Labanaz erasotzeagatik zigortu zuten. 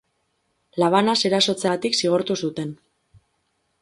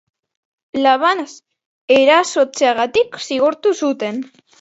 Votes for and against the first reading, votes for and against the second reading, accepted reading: 2, 2, 3, 1, second